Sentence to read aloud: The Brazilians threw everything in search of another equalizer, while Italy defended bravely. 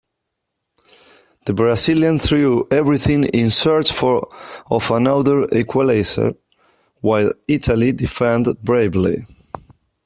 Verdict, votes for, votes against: rejected, 1, 2